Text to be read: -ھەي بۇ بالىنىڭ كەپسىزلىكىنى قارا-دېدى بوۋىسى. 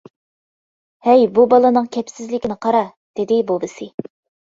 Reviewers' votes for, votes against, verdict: 2, 0, accepted